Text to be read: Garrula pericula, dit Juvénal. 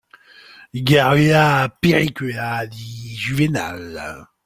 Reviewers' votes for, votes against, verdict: 2, 0, accepted